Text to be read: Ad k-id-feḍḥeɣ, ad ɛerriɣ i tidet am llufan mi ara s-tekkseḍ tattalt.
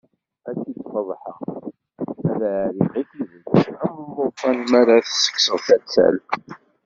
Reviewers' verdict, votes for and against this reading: rejected, 0, 2